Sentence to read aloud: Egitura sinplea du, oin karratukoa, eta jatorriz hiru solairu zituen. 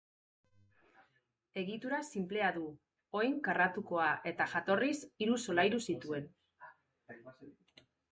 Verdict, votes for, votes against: accepted, 4, 0